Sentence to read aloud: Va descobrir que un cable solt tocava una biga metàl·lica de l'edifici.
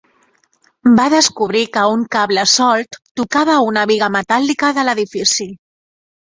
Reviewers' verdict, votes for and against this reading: accepted, 4, 0